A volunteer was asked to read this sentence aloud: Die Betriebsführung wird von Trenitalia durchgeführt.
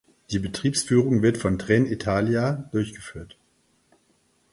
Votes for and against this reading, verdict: 4, 0, accepted